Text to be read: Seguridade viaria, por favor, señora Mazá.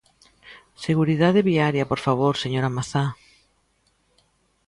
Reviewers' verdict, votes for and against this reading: accepted, 2, 0